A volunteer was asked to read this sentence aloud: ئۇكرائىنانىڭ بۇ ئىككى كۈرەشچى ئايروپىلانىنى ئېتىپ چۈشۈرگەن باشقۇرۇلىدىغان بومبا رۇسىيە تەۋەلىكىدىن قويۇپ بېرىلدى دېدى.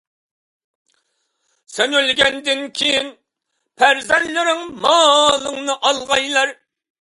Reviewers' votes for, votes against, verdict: 0, 2, rejected